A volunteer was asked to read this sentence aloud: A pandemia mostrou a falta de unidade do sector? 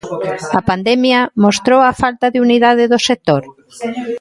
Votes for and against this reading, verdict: 2, 1, accepted